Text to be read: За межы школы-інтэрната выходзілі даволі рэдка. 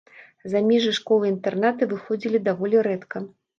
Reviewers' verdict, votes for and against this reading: accepted, 2, 0